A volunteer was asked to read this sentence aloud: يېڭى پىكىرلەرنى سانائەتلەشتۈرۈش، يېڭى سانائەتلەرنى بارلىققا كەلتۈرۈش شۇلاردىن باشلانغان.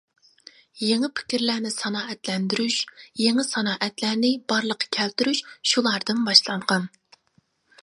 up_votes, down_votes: 0, 2